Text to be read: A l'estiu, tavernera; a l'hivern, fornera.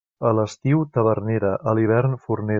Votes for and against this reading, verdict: 1, 2, rejected